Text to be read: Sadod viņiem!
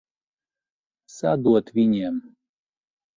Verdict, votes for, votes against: rejected, 2, 2